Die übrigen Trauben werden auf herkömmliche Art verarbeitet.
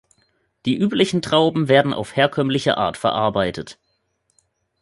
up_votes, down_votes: 0, 3